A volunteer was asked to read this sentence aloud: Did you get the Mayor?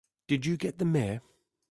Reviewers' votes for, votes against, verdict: 3, 0, accepted